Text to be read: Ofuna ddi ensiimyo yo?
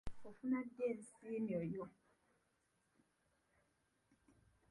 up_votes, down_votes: 0, 2